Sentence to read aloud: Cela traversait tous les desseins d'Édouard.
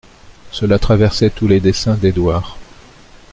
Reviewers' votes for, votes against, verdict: 2, 0, accepted